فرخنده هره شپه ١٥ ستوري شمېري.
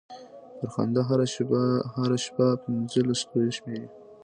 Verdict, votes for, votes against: rejected, 0, 2